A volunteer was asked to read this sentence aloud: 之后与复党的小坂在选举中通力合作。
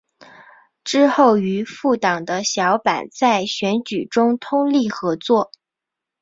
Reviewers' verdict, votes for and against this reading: accepted, 5, 0